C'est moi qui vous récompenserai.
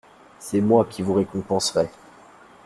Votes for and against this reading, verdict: 2, 0, accepted